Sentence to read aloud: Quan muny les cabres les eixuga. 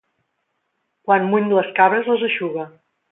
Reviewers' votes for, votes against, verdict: 2, 0, accepted